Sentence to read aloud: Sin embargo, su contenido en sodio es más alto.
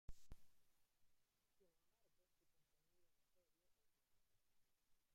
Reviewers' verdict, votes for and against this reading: rejected, 0, 2